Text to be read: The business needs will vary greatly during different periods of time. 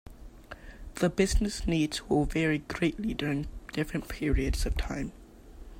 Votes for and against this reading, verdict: 2, 1, accepted